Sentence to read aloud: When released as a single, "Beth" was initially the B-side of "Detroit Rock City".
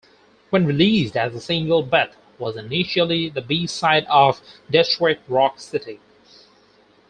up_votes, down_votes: 4, 2